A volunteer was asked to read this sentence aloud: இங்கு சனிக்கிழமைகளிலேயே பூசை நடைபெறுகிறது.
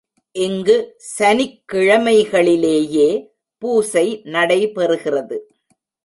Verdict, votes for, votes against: accepted, 2, 0